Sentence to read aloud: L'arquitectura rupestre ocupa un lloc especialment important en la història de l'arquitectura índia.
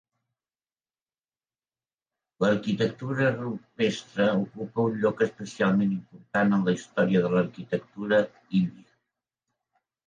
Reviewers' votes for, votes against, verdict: 4, 1, accepted